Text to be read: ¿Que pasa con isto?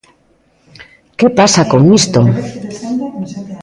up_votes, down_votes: 2, 0